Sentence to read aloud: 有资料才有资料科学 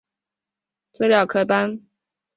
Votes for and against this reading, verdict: 0, 3, rejected